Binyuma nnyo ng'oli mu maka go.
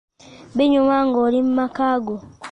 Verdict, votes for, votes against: rejected, 1, 2